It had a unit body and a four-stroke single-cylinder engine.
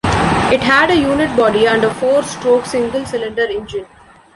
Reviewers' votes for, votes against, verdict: 2, 0, accepted